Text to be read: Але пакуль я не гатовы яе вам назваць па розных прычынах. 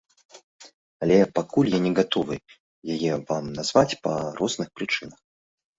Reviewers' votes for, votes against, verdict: 1, 2, rejected